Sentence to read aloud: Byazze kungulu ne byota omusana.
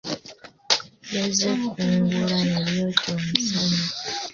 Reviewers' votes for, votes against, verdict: 1, 2, rejected